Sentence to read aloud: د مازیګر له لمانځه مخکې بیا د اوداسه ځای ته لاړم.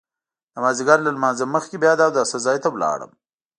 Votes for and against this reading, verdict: 2, 1, accepted